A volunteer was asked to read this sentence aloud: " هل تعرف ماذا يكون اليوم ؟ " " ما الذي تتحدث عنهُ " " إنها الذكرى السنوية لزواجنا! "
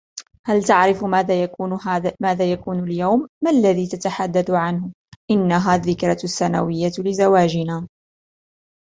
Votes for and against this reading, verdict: 0, 2, rejected